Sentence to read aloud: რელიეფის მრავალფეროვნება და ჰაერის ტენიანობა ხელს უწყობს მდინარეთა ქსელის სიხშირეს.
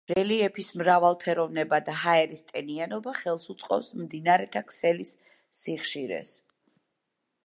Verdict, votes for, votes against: accepted, 2, 1